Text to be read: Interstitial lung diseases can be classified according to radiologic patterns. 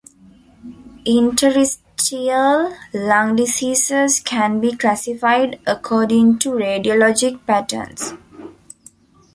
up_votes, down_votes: 0, 2